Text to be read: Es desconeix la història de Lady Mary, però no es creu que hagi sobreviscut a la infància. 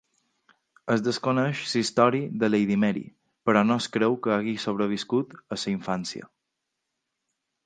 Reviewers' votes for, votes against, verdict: 2, 4, rejected